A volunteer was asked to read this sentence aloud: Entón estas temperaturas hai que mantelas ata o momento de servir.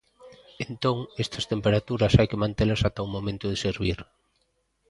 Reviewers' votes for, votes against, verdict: 2, 0, accepted